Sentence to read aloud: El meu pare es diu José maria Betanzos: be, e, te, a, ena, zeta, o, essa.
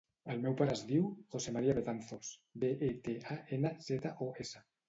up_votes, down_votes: 2, 0